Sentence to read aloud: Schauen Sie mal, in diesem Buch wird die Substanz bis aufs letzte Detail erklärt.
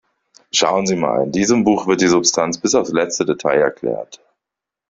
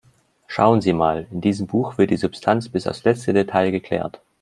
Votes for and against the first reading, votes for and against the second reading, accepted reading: 2, 0, 1, 2, first